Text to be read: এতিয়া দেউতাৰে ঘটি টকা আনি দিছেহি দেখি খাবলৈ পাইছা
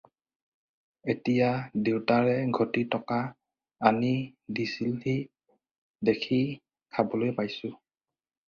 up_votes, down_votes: 2, 4